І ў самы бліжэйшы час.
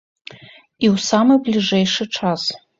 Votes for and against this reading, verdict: 2, 0, accepted